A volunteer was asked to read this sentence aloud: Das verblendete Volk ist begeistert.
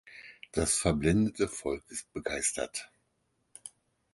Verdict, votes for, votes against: accepted, 4, 0